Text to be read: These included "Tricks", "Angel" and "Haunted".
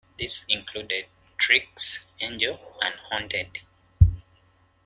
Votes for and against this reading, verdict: 2, 1, accepted